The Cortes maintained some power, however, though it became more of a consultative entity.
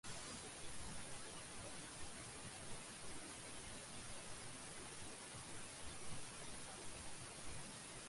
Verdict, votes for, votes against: rejected, 0, 2